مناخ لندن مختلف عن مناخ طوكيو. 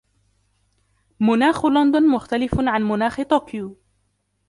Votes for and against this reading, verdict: 2, 0, accepted